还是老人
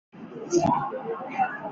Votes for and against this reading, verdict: 1, 2, rejected